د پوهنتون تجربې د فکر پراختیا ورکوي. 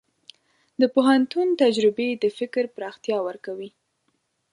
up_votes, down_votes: 2, 0